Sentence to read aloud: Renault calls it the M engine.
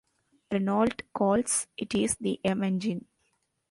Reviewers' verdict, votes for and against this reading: rejected, 0, 2